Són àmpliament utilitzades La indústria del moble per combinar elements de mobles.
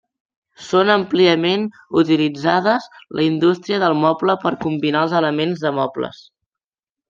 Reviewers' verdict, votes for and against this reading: rejected, 1, 2